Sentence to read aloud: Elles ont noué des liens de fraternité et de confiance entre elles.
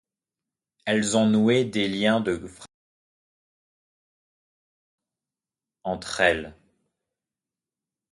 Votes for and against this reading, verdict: 0, 2, rejected